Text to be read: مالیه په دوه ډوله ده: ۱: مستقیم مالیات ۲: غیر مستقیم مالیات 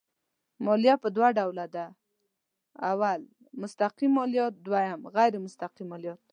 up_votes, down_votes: 0, 2